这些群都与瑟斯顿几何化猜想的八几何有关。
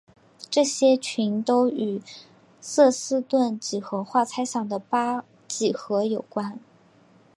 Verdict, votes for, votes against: rejected, 0, 2